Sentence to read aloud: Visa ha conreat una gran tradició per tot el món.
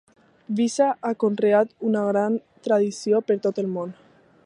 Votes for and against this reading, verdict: 2, 0, accepted